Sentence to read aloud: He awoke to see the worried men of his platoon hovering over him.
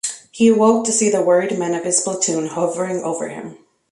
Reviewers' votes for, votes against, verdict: 2, 0, accepted